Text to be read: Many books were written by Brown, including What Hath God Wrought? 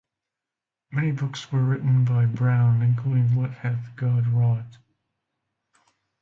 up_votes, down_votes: 2, 0